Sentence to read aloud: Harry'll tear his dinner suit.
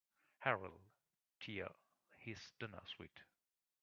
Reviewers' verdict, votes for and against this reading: rejected, 2, 3